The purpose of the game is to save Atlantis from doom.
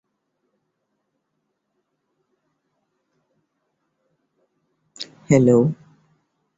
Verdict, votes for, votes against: rejected, 1, 2